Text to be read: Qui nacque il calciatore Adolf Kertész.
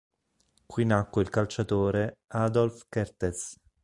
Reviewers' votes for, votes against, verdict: 2, 0, accepted